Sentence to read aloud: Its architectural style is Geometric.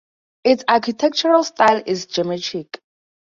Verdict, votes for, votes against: rejected, 2, 2